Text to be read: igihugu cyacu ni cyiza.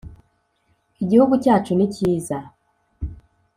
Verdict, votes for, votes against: accepted, 2, 0